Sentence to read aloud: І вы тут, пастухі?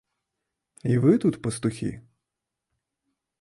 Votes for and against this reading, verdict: 2, 0, accepted